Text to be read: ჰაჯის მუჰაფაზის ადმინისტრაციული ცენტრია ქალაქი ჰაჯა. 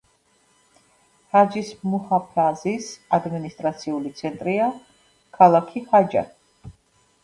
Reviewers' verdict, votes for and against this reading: rejected, 1, 2